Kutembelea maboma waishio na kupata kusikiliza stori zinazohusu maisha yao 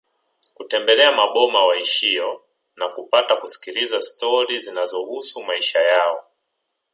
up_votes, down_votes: 2, 0